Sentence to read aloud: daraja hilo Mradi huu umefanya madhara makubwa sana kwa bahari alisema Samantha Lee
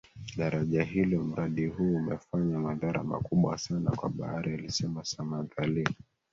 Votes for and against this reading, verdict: 3, 1, accepted